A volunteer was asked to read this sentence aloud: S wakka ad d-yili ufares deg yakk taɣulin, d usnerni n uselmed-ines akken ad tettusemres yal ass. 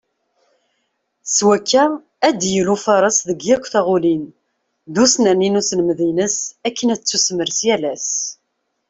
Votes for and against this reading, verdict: 2, 0, accepted